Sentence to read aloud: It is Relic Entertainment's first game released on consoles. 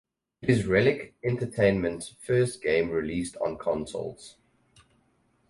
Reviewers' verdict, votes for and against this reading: accepted, 2, 0